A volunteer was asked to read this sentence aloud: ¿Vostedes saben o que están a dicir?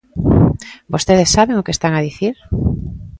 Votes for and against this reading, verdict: 2, 0, accepted